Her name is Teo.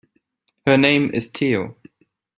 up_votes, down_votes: 2, 0